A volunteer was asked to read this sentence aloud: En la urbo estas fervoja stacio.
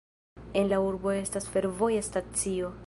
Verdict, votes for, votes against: rejected, 1, 2